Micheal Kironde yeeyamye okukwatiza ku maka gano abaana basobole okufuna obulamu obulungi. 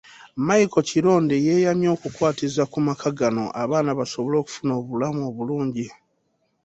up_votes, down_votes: 2, 0